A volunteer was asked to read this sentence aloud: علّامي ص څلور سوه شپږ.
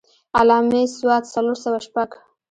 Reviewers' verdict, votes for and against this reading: rejected, 0, 2